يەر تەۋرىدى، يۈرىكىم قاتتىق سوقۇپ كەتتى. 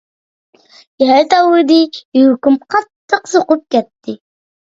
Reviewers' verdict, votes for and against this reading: rejected, 1, 2